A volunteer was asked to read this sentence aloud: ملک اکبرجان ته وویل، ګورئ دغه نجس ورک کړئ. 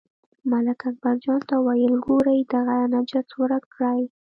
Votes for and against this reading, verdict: 2, 1, accepted